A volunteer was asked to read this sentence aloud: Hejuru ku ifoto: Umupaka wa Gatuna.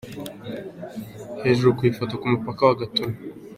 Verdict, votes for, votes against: rejected, 1, 2